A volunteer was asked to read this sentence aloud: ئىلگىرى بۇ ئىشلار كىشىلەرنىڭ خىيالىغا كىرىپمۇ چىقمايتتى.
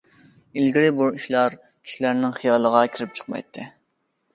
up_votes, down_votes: 0, 2